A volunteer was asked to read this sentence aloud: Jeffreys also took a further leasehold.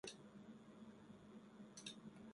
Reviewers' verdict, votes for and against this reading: rejected, 0, 2